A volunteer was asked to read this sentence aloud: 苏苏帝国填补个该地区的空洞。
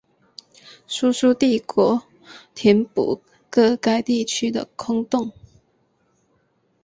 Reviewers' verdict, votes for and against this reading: accepted, 2, 0